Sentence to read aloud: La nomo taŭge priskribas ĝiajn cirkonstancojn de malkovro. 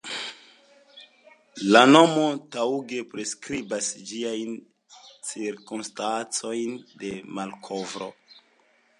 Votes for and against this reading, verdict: 2, 0, accepted